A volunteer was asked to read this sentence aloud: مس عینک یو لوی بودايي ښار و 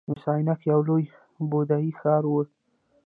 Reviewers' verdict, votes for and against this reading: accepted, 2, 1